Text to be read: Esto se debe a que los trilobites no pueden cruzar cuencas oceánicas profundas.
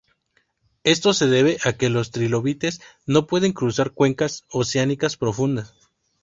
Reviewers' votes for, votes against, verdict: 2, 0, accepted